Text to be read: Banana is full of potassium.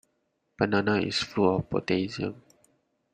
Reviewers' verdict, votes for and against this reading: rejected, 1, 2